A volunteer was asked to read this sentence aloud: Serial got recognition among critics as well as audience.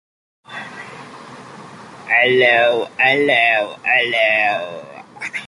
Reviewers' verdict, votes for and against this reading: rejected, 0, 2